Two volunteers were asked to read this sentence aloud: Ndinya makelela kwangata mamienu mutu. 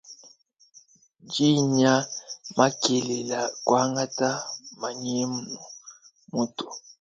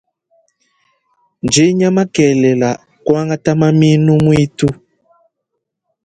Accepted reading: second